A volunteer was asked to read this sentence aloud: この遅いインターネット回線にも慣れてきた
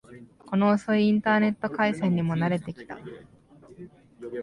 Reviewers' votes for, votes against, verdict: 2, 1, accepted